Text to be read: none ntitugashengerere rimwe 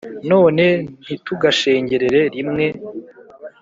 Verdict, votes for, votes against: accepted, 2, 0